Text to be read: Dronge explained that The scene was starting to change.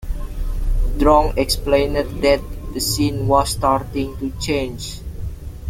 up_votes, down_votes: 1, 2